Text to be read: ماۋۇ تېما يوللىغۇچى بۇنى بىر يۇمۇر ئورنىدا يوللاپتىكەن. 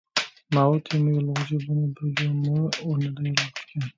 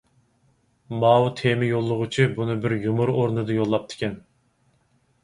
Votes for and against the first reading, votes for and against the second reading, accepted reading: 0, 2, 4, 0, second